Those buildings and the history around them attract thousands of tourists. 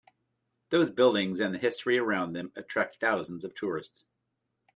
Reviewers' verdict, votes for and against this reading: accepted, 2, 0